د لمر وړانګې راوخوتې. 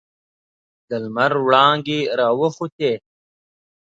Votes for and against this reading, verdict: 2, 0, accepted